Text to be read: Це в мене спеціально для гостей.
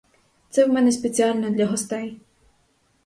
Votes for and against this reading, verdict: 2, 0, accepted